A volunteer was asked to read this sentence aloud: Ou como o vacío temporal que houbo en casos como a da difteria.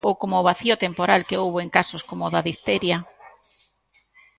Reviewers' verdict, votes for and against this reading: accepted, 2, 1